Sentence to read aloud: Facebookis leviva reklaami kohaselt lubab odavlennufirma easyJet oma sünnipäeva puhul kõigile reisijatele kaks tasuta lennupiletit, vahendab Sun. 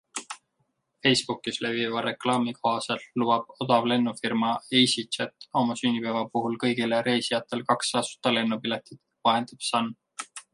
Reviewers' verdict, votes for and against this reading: accepted, 2, 0